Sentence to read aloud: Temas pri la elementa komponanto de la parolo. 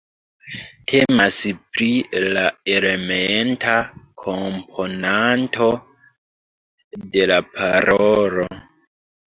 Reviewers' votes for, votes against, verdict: 2, 0, accepted